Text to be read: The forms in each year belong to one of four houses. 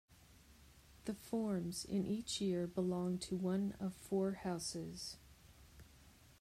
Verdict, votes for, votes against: accepted, 2, 0